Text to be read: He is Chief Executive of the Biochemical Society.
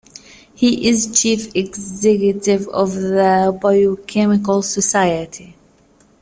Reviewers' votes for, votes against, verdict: 2, 0, accepted